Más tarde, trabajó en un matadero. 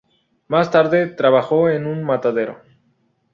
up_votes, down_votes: 2, 0